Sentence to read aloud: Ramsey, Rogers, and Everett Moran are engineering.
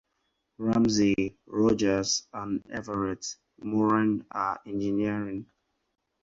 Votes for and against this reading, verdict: 4, 0, accepted